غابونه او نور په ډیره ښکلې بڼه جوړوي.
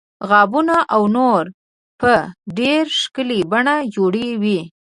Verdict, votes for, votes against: rejected, 0, 2